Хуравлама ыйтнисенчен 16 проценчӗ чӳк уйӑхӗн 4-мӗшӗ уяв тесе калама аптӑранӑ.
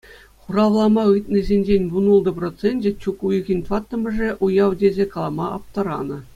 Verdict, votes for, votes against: rejected, 0, 2